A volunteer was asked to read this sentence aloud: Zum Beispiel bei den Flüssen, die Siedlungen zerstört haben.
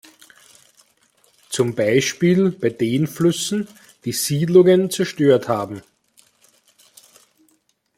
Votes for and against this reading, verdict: 1, 2, rejected